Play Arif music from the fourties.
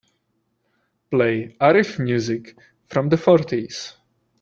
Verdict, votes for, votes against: accepted, 2, 0